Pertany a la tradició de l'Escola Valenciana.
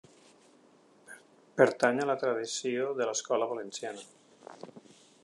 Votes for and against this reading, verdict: 4, 0, accepted